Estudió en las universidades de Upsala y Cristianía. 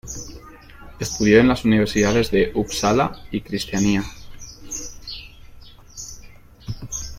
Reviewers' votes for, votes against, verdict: 0, 2, rejected